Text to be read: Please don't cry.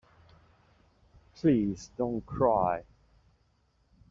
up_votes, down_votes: 2, 0